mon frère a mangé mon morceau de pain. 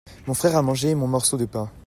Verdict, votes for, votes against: accepted, 2, 0